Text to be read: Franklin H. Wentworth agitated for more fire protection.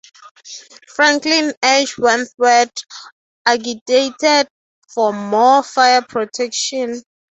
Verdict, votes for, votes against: accepted, 6, 0